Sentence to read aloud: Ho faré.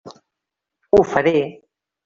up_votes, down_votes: 0, 2